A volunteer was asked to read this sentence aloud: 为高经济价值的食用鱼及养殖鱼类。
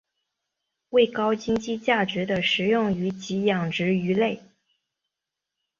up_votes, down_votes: 2, 0